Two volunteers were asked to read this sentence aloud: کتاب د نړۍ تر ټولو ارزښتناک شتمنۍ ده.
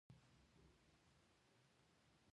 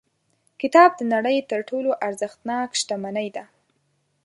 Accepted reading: second